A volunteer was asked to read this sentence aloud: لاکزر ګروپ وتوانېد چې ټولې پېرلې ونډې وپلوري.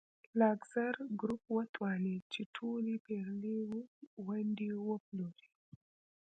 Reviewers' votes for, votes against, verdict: 2, 0, accepted